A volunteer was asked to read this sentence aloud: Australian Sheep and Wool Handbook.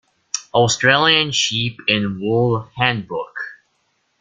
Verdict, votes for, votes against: accepted, 2, 0